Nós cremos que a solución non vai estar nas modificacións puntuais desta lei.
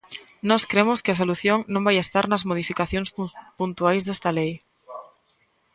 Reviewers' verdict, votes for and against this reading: rejected, 1, 2